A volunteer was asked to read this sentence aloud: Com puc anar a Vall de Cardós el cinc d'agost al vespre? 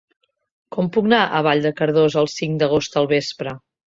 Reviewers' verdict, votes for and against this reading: rejected, 0, 2